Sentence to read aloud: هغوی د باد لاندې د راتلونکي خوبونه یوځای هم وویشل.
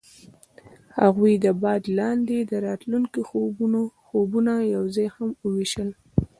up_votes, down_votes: 0, 2